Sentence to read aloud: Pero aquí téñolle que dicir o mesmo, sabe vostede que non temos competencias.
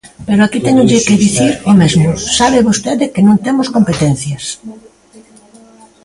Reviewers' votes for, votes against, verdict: 2, 0, accepted